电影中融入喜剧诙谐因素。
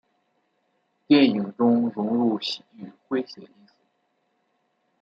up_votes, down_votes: 0, 2